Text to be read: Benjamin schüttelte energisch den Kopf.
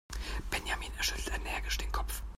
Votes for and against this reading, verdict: 1, 2, rejected